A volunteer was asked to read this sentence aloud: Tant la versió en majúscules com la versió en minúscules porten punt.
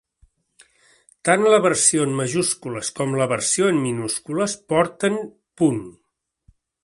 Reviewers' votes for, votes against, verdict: 2, 0, accepted